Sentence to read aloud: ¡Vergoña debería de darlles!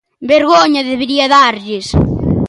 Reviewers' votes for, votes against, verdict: 0, 2, rejected